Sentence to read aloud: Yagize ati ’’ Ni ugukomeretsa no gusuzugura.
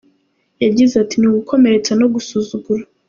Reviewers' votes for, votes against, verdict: 2, 0, accepted